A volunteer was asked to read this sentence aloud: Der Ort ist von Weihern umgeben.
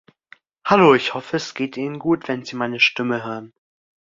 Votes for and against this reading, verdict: 0, 2, rejected